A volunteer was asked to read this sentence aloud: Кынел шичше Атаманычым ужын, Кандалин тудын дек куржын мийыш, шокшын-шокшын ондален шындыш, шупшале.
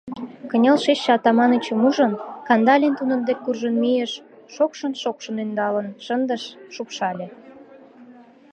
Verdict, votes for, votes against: rejected, 0, 2